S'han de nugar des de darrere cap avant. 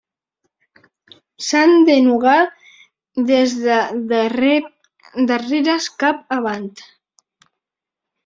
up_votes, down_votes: 2, 0